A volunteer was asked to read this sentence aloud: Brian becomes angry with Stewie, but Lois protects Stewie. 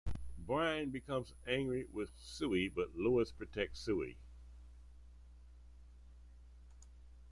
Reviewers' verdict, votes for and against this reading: rejected, 1, 2